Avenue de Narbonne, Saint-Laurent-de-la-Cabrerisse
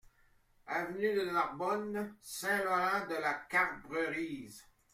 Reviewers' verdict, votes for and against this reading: accepted, 2, 0